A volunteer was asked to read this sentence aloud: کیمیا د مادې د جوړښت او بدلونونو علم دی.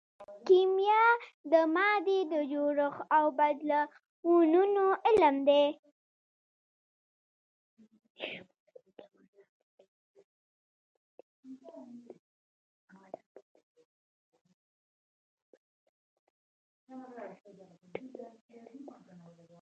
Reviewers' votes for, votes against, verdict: 0, 2, rejected